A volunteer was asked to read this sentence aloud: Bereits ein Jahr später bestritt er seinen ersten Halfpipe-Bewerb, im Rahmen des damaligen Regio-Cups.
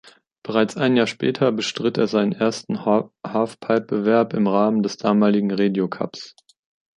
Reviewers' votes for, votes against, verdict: 1, 2, rejected